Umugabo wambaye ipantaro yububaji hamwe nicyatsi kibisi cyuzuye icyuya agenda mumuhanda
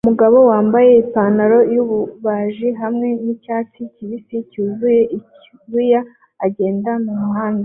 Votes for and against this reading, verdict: 2, 0, accepted